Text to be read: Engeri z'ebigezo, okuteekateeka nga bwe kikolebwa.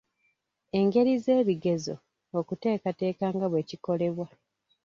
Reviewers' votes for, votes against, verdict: 1, 2, rejected